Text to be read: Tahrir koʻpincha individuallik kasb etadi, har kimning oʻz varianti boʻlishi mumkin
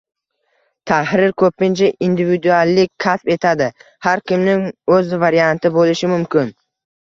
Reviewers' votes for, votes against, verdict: 1, 2, rejected